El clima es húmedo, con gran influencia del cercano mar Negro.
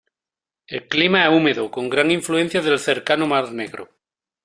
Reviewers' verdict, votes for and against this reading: rejected, 1, 2